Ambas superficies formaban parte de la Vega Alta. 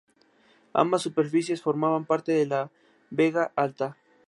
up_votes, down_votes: 2, 0